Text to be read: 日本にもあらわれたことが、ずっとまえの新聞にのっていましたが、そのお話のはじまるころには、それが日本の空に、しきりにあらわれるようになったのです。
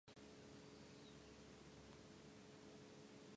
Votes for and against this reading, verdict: 0, 2, rejected